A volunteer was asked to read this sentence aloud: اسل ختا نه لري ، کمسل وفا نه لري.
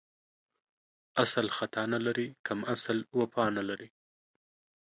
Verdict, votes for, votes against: rejected, 1, 2